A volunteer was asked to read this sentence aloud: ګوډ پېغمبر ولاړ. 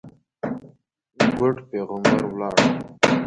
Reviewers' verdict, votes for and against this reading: rejected, 0, 2